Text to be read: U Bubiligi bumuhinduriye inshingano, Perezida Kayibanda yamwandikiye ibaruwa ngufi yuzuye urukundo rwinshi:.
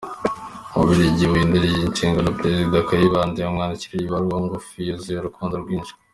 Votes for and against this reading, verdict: 2, 1, accepted